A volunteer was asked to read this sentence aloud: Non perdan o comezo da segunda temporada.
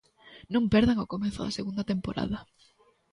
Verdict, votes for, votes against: accepted, 2, 0